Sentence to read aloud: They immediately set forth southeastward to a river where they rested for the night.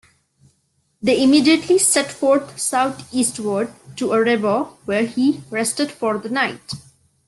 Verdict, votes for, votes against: rejected, 0, 2